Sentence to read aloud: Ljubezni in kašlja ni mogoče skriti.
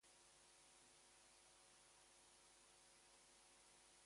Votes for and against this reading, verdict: 0, 4, rejected